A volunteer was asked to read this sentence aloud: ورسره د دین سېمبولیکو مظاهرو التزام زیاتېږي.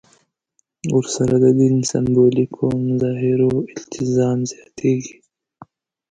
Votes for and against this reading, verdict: 1, 2, rejected